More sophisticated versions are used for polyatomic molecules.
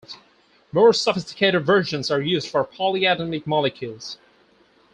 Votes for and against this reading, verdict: 2, 4, rejected